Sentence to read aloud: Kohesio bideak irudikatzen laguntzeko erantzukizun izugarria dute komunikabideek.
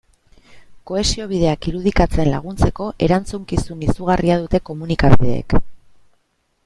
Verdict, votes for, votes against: accepted, 2, 0